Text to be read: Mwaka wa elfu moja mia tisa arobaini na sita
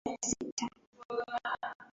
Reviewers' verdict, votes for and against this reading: rejected, 0, 2